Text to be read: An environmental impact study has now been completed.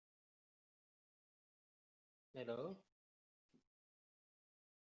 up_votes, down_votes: 0, 2